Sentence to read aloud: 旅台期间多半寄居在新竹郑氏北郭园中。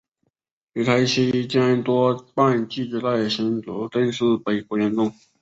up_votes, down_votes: 3, 0